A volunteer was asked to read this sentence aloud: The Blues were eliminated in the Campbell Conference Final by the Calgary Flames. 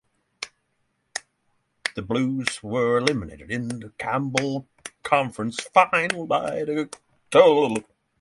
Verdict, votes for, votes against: rejected, 0, 6